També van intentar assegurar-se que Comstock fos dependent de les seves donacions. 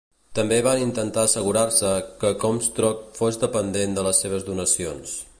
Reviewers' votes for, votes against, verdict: 1, 2, rejected